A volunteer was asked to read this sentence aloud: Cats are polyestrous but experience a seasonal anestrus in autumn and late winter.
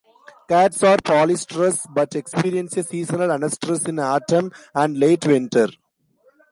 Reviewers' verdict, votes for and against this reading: rejected, 1, 2